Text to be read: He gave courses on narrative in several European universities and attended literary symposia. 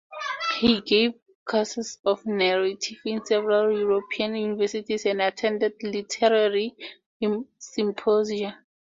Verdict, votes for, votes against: rejected, 0, 4